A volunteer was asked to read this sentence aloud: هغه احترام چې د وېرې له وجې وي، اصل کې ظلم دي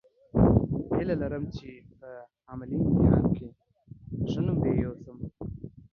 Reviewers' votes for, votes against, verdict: 0, 2, rejected